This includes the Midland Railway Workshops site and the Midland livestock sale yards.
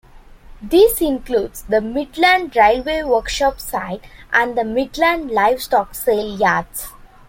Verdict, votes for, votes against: rejected, 0, 2